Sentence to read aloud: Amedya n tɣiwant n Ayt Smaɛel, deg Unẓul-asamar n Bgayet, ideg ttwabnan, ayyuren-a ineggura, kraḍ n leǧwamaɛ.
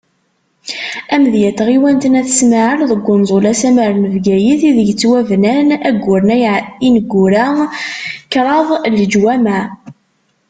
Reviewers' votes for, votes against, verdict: 0, 2, rejected